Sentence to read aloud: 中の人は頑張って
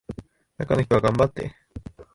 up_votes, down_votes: 2, 1